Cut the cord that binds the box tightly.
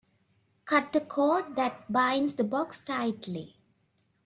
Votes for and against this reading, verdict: 2, 0, accepted